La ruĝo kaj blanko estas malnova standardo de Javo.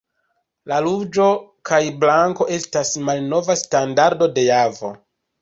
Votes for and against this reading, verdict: 2, 0, accepted